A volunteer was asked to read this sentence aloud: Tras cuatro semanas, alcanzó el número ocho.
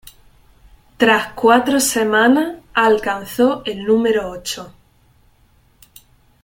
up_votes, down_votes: 2, 3